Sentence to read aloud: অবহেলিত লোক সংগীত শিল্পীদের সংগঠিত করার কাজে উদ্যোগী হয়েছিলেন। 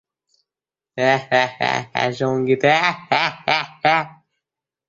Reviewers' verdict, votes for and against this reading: rejected, 0, 12